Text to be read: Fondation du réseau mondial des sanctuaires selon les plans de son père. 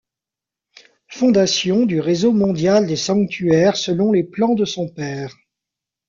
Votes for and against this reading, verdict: 0, 2, rejected